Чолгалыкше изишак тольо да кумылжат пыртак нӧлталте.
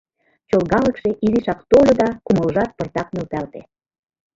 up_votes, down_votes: 2, 1